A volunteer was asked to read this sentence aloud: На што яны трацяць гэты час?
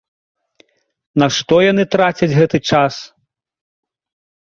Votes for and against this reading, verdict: 2, 0, accepted